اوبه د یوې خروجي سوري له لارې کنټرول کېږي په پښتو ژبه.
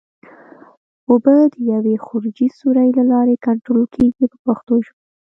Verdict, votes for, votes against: accepted, 3, 1